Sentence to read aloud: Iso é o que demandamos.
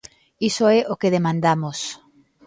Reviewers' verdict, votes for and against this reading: accepted, 2, 0